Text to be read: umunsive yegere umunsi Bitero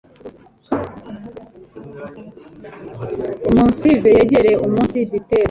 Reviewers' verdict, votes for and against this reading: rejected, 0, 2